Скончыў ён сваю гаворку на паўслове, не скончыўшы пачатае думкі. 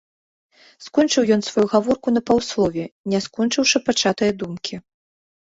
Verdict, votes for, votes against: accepted, 2, 0